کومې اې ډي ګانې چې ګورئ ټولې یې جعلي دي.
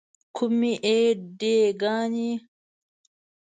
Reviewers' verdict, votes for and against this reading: rejected, 1, 2